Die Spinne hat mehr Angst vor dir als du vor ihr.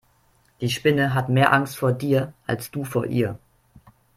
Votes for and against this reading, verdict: 2, 0, accepted